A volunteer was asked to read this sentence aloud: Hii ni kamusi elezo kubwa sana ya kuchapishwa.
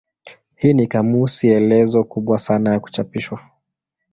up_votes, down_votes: 2, 0